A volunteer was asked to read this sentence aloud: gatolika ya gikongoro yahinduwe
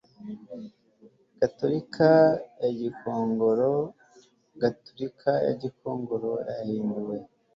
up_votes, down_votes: 1, 2